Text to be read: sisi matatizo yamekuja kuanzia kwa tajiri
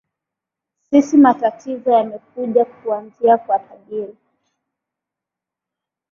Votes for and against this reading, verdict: 3, 1, accepted